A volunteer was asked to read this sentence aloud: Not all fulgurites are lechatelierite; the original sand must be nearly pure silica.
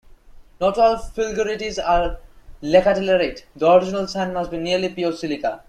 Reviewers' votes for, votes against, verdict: 1, 2, rejected